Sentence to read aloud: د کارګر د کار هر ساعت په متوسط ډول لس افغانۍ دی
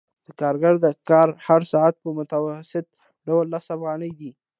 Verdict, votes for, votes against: accepted, 2, 0